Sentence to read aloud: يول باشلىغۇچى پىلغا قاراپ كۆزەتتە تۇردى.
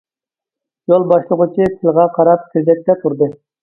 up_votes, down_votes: 0, 2